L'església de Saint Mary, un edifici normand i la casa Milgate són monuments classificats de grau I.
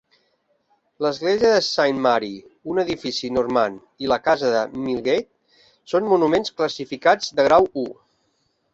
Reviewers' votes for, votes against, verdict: 1, 2, rejected